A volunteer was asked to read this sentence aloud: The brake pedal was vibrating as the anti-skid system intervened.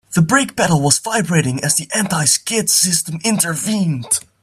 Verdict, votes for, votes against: accepted, 2, 0